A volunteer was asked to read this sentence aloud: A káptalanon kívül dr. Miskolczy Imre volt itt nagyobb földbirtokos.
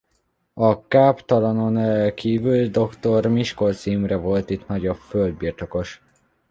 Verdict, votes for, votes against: rejected, 1, 2